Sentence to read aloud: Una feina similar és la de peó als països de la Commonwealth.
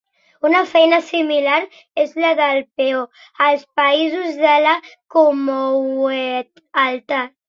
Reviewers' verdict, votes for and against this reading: rejected, 1, 4